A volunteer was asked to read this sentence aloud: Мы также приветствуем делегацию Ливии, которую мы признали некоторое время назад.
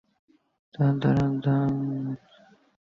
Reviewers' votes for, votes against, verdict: 0, 2, rejected